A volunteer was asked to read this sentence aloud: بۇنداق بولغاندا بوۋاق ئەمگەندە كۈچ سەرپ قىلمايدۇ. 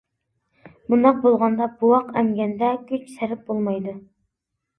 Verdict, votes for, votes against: rejected, 0, 2